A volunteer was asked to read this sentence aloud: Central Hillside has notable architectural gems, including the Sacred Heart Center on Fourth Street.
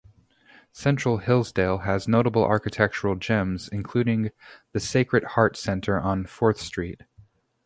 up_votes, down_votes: 0, 2